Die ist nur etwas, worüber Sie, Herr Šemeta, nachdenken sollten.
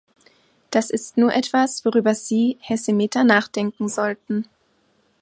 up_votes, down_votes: 1, 2